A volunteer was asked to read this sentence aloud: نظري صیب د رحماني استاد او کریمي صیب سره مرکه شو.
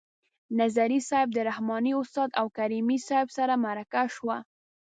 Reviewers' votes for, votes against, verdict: 0, 2, rejected